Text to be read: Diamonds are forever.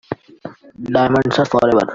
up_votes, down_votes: 1, 2